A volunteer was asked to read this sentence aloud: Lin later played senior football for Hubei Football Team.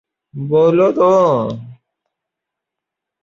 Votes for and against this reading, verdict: 0, 3, rejected